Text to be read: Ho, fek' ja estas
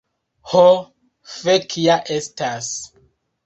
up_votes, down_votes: 2, 0